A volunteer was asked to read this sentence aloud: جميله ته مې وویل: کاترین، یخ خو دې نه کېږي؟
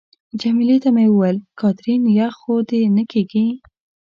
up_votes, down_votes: 0, 2